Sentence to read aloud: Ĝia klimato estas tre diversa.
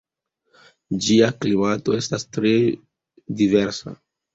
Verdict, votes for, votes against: accepted, 2, 0